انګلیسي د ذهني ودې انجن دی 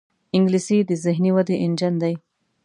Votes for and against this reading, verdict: 2, 0, accepted